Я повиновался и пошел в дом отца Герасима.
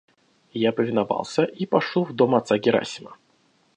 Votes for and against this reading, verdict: 2, 0, accepted